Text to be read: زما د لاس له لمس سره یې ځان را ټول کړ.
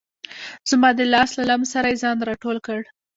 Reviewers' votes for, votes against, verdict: 0, 2, rejected